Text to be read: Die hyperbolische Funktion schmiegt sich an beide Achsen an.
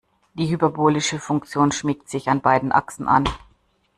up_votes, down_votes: 1, 2